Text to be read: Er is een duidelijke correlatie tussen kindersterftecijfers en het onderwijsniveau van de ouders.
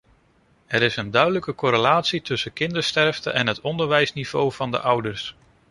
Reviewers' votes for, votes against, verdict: 0, 2, rejected